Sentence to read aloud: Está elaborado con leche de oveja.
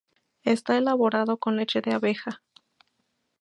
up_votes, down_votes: 0, 2